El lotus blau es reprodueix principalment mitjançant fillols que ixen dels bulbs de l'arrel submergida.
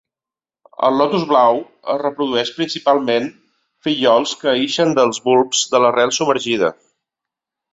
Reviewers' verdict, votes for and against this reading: rejected, 1, 2